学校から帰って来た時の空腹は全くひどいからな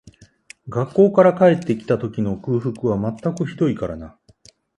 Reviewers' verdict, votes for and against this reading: accepted, 2, 1